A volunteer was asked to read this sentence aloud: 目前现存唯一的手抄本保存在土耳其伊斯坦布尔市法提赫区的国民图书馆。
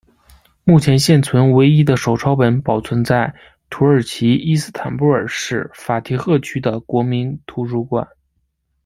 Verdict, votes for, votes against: accepted, 2, 1